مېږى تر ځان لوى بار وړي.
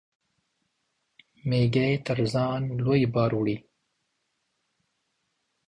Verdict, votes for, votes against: accepted, 2, 0